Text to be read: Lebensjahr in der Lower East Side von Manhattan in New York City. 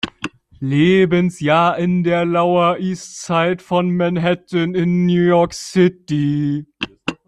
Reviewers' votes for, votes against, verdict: 0, 2, rejected